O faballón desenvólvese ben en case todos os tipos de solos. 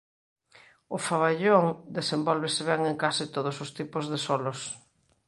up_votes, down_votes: 2, 0